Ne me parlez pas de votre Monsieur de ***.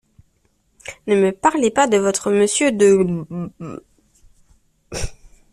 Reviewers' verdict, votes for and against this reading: accepted, 2, 1